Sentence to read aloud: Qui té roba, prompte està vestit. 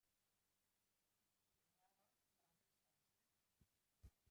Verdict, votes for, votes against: rejected, 0, 2